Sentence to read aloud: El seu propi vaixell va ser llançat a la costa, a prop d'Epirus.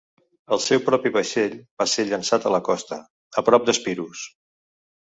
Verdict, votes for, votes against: rejected, 0, 2